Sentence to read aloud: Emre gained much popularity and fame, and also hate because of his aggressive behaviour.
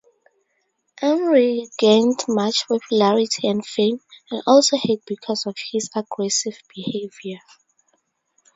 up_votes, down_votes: 2, 2